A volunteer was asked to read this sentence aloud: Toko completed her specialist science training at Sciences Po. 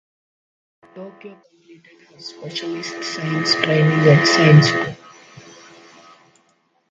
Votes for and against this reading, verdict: 0, 2, rejected